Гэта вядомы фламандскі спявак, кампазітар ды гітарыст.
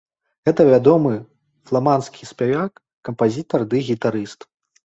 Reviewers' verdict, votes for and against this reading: rejected, 1, 2